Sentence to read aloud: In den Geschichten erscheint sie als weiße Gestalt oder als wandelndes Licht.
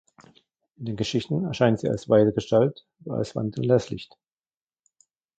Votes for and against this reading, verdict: 0, 2, rejected